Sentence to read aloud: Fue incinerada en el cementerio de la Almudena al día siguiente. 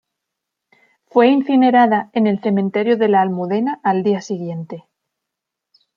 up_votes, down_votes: 2, 0